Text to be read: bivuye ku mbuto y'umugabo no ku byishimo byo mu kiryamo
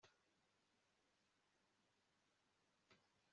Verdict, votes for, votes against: rejected, 0, 2